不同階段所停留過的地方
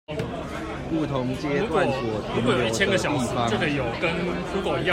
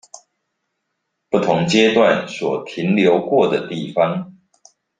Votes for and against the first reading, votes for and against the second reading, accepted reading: 0, 2, 2, 0, second